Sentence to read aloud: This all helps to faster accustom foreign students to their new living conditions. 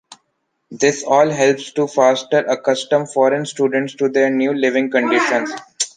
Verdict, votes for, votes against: rejected, 1, 2